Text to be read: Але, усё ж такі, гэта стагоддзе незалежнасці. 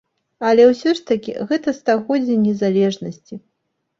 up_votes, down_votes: 2, 0